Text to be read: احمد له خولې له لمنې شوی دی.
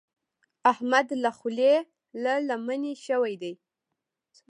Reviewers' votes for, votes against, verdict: 1, 2, rejected